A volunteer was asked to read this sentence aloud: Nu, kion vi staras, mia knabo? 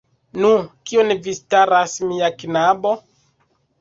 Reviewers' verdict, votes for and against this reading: rejected, 1, 2